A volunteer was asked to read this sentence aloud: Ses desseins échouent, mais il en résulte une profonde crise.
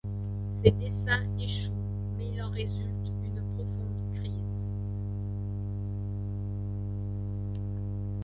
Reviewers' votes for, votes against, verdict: 2, 0, accepted